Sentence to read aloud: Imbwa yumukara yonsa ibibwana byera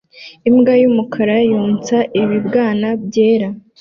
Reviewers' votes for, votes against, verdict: 2, 0, accepted